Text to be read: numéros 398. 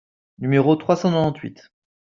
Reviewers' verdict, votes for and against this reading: rejected, 0, 2